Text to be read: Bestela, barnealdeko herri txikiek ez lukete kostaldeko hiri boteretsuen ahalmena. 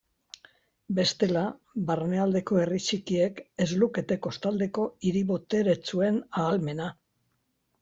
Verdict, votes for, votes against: accepted, 2, 0